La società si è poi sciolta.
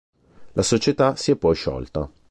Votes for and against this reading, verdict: 2, 0, accepted